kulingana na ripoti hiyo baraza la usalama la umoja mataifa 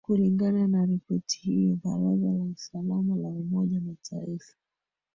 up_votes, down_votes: 1, 3